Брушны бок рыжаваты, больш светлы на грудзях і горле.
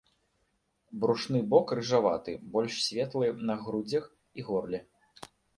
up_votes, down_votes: 1, 2